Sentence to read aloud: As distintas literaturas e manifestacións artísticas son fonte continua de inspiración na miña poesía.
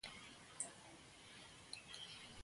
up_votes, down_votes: 0, 3